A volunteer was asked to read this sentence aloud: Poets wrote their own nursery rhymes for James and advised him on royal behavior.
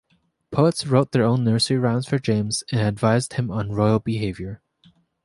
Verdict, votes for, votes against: accepted, 2, 0